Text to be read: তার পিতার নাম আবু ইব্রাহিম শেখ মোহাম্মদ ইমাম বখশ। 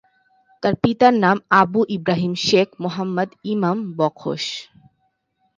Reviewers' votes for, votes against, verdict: 2, 0, accepted